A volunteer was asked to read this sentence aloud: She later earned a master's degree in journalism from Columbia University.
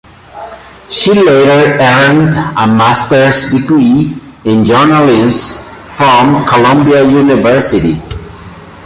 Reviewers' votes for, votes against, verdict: 0, 2, rejected